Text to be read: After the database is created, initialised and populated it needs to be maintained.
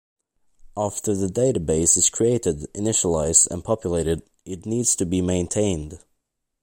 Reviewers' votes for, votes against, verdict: 2, 0, accepted